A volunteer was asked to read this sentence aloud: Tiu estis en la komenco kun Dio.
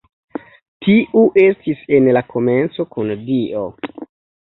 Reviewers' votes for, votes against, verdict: 2, 0, accepted